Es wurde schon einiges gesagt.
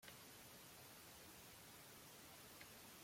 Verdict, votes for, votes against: rejected, 0, 2